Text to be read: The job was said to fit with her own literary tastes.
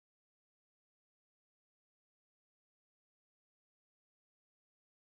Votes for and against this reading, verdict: 1, 2, rejected